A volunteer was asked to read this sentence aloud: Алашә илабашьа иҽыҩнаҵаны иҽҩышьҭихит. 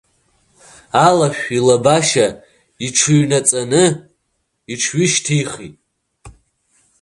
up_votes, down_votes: 2, 0